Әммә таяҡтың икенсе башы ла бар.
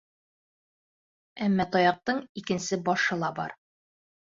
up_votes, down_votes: 3, 0